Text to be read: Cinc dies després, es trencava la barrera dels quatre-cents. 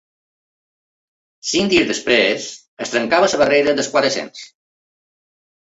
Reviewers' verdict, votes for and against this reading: accepted, 4, 0